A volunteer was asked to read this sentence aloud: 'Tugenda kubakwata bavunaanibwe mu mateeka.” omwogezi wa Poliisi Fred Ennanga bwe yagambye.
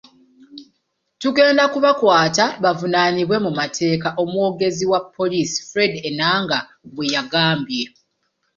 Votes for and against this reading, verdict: 2, 0, accepted